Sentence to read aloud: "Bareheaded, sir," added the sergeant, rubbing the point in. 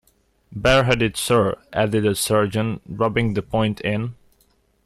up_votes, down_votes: 2, 0